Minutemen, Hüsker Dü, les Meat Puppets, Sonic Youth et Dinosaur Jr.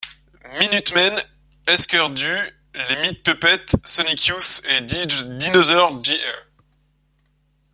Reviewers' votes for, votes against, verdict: 0, 2, rejected